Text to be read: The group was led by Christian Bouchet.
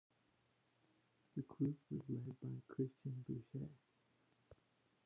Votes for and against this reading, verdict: 0, 2, rejected